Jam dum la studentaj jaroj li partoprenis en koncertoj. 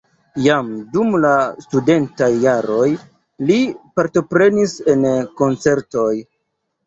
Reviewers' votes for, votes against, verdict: 2, 0, accepted